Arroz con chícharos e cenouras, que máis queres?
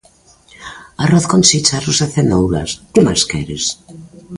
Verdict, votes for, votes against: rejected, 1, 2